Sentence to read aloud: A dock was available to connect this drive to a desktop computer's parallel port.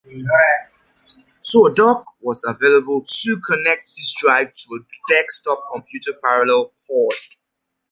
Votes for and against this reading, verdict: 1, 2, rejected